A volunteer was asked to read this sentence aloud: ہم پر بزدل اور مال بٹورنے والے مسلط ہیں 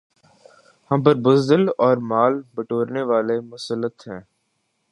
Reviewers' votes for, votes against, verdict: 4, 0, accepted